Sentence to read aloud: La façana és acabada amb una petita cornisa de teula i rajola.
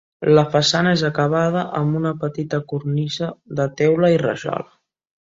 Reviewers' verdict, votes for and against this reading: accepted, 3, 0